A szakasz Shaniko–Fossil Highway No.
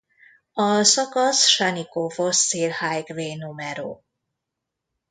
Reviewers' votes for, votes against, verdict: 0, 2, rejected